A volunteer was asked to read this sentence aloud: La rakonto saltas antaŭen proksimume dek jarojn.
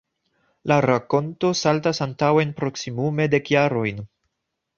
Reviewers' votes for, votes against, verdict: 2, 1, accepted